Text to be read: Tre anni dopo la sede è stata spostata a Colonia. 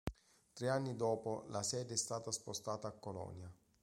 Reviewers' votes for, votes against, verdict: 2, 0, accepted